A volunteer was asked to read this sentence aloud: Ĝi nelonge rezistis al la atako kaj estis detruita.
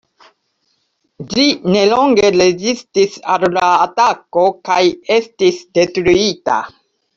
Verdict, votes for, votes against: rejected, 1, 2